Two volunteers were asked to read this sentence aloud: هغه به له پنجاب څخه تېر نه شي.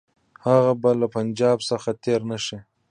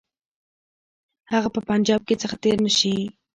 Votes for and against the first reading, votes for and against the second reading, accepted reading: 1, 2, 2, 1, second